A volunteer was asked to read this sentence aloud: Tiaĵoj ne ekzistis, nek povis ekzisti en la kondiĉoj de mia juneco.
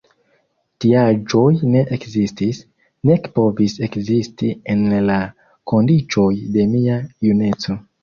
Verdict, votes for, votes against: accepted, 2, 0